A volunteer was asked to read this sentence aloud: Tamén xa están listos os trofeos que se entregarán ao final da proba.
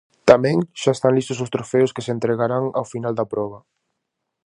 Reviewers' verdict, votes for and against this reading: accepted, 4, 0